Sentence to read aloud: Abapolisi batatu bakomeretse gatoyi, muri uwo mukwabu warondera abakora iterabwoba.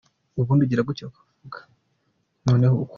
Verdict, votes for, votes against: rejected, 0, 2